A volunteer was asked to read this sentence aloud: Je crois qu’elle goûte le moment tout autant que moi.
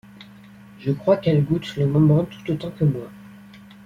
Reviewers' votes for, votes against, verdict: 0, 2, rejected